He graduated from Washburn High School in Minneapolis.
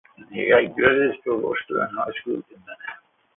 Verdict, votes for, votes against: rejected, 0, 2